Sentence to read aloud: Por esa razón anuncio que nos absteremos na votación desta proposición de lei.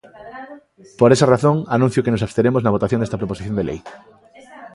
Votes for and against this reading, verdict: 1, 2, rejected